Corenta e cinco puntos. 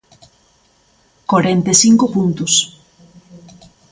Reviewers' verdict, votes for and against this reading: rejected, 1, 2